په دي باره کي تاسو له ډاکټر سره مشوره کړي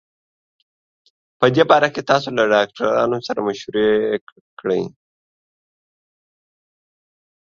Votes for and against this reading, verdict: 0, 2, rejected